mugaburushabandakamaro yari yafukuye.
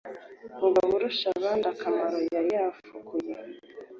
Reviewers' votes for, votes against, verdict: 2, 0, accepted